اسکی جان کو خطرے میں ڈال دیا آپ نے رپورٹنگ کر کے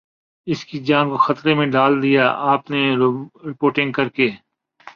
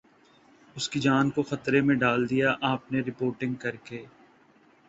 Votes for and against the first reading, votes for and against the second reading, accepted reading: 1, 2, 2, 0, second